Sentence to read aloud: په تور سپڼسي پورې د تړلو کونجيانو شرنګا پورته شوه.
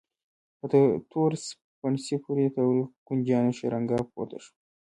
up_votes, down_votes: 0, 2